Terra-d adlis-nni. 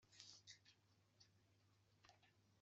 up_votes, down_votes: 1, 2